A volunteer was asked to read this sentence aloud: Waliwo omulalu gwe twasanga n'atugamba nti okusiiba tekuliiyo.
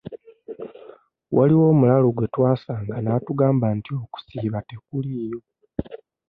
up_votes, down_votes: 2, 0